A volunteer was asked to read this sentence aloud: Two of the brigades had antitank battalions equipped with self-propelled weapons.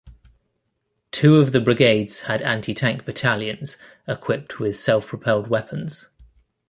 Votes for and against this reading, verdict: 2, 1, accepted